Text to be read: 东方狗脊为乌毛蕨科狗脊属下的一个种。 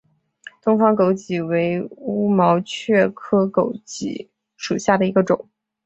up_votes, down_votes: 3, 0